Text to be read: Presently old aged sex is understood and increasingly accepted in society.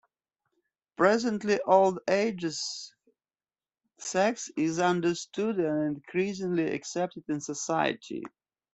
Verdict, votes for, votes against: accepted, 2, 1